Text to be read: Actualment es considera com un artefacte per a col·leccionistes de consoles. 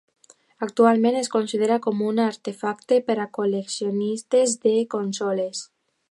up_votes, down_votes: 3, 0